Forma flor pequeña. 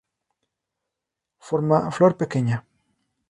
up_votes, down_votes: 2, 0